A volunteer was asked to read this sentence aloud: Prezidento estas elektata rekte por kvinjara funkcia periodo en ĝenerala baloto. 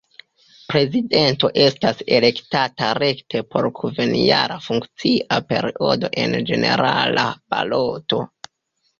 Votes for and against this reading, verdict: 1, 2, rejected